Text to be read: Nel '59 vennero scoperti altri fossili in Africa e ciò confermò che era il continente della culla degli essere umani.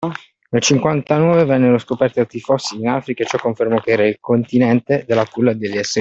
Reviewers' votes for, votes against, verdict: 0, 2, rejected